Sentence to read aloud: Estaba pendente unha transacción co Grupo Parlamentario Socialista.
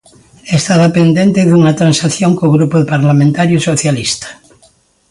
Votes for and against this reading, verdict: 2, 1, accepted